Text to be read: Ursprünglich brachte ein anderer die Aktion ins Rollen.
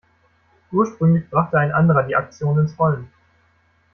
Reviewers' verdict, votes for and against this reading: accepted, 2, 0